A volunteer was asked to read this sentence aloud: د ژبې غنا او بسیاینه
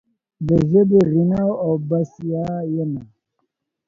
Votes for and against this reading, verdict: 1, 2, rejected